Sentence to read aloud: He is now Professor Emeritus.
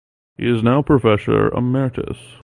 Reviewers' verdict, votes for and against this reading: accepted, 2, 0